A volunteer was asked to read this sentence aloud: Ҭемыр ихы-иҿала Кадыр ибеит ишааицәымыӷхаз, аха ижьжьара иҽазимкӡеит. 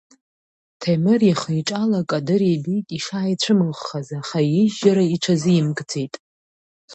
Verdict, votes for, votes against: rejected, 1, 2